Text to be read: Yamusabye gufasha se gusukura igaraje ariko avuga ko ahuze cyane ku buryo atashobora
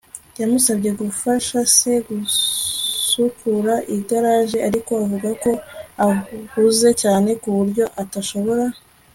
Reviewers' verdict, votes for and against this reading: rejected, 1, 2